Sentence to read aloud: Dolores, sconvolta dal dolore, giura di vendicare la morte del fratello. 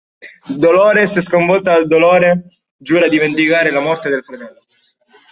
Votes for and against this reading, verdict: 1, 2, rejected